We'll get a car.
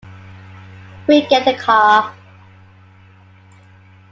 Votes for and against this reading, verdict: 2, 1, accepted